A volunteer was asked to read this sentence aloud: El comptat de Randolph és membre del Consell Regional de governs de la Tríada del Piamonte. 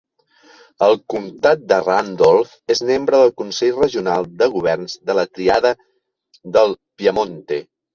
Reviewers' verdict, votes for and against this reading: accepted, 3, 2